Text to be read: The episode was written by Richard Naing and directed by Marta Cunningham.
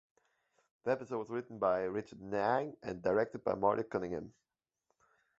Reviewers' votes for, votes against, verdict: 1, 2, rejected